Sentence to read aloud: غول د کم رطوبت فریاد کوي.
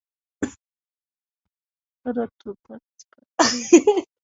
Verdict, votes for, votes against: rejected, 0, 2